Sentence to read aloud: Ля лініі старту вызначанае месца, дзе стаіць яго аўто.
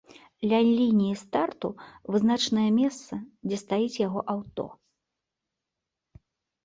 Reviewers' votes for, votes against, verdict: 0, 2, rejected